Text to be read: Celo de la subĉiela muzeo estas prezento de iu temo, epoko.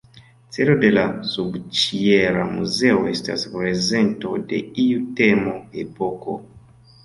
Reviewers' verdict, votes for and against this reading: rejected, 0, 2